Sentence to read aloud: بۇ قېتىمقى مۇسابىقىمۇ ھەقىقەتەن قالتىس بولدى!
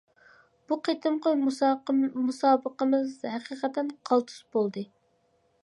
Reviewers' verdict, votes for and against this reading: rejected, 0, 2